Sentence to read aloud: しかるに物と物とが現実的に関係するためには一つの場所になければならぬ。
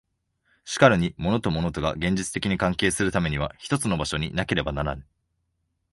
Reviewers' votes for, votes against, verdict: 2, 0, accepted